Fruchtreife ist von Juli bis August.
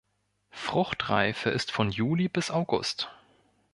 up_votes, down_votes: 2, 0